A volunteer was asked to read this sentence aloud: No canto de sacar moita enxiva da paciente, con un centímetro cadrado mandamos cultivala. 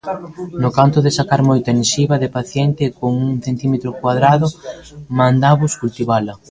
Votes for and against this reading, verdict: 1, 2, rejected